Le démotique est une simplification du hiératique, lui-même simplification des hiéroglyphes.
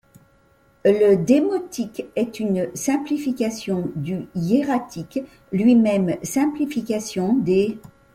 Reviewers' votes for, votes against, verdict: 0, 2, rejected